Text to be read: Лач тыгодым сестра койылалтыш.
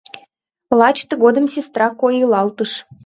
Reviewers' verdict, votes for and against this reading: accepted, 3, 2